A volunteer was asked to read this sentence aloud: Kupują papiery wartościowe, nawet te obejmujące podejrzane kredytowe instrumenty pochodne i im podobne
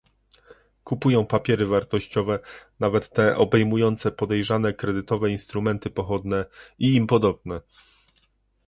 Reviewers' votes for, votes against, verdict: 2, 0, accepted